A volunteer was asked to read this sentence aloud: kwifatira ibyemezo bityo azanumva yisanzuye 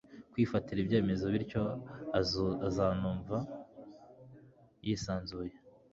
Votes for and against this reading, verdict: 1, 2, rejected